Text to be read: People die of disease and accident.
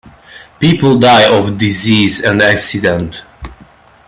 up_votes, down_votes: 2, 0